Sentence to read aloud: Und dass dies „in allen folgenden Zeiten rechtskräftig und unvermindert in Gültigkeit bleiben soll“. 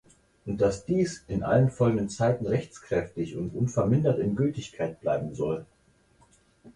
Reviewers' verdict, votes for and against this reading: accepted, 4, 0